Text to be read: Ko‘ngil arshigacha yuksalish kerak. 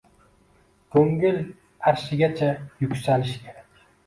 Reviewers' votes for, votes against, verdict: 2, 0, accepted